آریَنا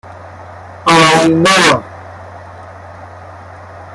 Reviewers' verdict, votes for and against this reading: rejected, 0, 2